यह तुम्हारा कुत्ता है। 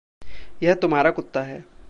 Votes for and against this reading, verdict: 2, 0, accepted